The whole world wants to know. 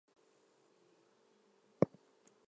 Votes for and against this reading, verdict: 0, 4, rejected